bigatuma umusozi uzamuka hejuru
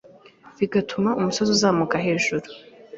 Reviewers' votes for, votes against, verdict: 2, 0, accepted